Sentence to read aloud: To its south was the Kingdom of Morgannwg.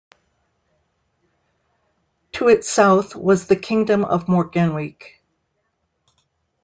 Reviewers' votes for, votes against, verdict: 2, 0, accepted